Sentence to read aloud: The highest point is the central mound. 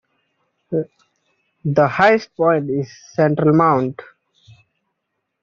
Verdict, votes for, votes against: rejected, 1, 2